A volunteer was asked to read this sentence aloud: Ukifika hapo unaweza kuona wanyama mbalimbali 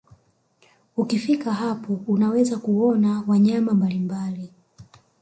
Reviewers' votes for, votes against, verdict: 1, 2, rejected